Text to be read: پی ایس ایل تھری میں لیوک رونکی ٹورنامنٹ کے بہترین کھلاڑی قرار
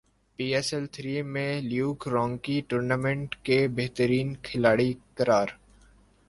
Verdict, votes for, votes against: accepted, 3, 0